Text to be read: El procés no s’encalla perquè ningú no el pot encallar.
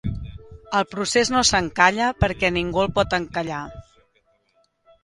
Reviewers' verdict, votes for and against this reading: accepted, 2, 0